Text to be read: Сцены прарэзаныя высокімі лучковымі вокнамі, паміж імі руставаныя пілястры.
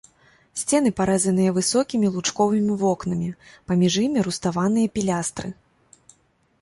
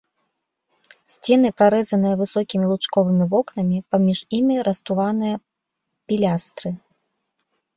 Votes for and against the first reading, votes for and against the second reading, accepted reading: 0, 2, 3, 2, second